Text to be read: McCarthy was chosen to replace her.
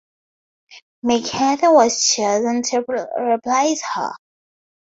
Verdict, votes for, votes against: rejected, 0, 2